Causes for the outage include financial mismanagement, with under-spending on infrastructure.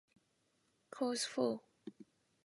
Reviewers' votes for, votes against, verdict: 0, 2, rejected